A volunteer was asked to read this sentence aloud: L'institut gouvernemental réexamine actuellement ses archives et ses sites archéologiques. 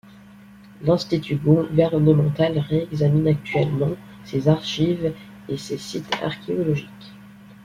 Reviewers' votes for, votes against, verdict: 2, 0, accepted